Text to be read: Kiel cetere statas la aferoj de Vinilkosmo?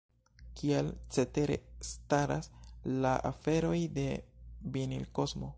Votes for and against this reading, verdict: 1, 2, rejected